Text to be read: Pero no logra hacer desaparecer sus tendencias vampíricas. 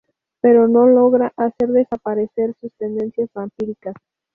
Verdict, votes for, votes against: accepted, 2, 0